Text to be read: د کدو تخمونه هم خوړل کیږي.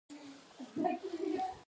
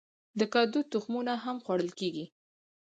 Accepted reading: second